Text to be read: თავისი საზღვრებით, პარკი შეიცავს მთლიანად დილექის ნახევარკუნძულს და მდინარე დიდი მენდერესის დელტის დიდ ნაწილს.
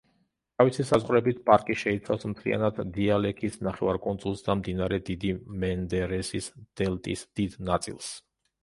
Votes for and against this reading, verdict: 0, 2, rejected